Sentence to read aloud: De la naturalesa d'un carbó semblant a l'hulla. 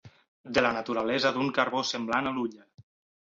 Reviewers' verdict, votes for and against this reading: rejected, 2, 4